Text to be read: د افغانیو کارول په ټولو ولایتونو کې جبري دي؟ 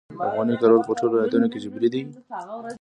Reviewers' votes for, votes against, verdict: 0, 2, rejected